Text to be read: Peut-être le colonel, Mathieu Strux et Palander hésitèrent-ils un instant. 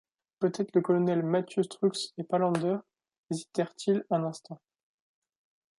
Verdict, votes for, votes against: accepted, 2, 0